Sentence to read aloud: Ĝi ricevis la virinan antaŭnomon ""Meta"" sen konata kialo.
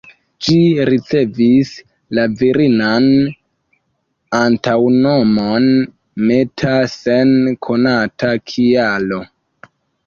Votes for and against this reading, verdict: 2, 1, accepted